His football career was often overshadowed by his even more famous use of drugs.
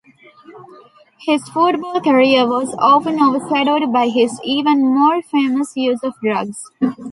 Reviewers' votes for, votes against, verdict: 1, 2, rejected